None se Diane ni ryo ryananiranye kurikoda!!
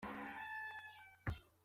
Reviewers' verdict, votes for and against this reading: rejected, 0, 2